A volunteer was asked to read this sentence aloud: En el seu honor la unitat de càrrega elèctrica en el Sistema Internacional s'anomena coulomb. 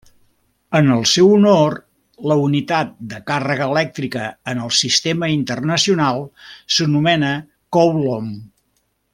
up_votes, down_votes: 1, 2